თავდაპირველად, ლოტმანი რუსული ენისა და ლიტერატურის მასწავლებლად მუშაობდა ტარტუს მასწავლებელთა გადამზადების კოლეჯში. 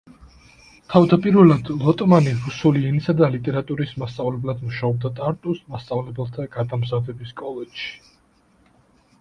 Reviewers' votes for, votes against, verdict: 2, 0, accepted